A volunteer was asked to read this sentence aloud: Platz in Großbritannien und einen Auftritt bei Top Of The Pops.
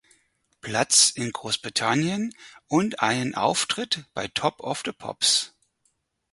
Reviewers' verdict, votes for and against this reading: accepted, 4, 2